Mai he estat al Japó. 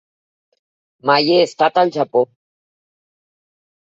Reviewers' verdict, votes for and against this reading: accepted, 3, 0